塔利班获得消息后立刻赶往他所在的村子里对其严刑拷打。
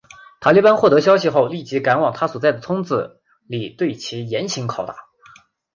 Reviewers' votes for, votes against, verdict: 3, 0, accepted